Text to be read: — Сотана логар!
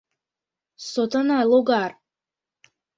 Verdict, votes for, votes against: accepted, 2, 0